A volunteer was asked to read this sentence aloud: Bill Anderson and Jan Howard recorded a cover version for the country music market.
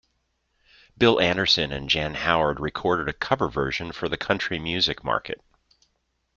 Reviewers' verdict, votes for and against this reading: accepted, 2, 0